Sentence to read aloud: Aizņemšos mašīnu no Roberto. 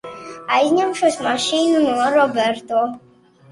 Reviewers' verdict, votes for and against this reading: rejected, 0, 2